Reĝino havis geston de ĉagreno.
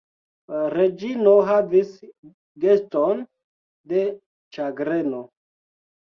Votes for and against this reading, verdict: 1, 2, rejected